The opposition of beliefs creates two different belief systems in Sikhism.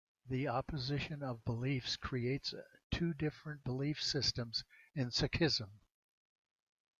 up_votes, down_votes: 1, 2